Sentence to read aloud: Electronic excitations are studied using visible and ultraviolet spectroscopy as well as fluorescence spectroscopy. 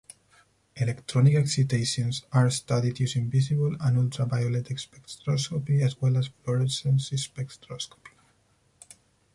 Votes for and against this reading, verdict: 0, 4, rejected